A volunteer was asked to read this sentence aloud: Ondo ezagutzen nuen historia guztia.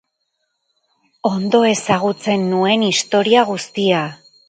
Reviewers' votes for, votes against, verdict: 2, 2, rejected